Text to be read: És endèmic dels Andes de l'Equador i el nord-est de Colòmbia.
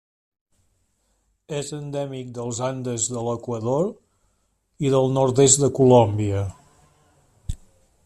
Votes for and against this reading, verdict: 1, 2, rejected